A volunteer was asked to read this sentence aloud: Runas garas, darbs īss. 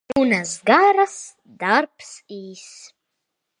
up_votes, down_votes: 0, 2